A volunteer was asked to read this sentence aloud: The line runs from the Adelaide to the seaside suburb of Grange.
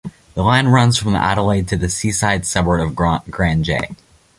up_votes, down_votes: 1, 2